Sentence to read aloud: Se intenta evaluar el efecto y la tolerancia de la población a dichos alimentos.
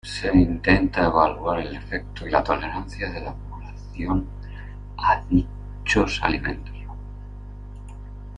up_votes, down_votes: 0, 2